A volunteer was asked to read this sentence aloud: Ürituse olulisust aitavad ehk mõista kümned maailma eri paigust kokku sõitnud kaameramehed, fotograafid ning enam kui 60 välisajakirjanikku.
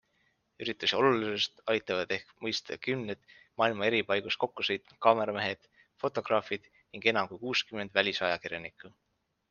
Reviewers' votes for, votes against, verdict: 0, 2, rejected